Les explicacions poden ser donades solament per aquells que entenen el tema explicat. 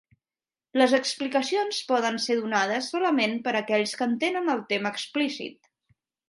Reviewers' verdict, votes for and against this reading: rejected, 0, 3